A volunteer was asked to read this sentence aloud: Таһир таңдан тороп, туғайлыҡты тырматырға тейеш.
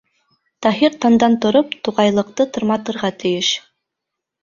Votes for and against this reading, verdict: 3, 1, accepted